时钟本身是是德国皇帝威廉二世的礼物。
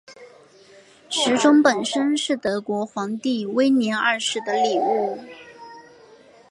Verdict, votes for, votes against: accepted, 2, 0